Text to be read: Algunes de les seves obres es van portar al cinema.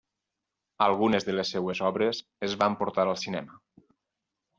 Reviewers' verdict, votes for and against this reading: rejected, 2, 4